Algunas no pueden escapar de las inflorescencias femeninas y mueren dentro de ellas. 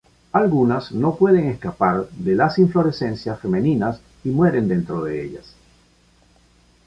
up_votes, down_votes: 2, 0